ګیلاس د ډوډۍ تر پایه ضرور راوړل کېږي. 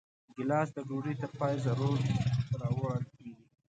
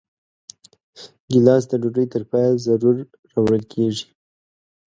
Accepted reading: second